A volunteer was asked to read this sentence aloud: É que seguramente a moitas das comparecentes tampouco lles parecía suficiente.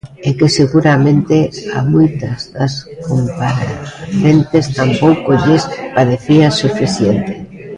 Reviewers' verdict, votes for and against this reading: rejected, 0, 2